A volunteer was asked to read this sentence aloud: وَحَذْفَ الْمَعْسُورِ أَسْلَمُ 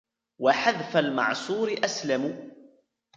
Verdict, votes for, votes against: rejected, 1, 2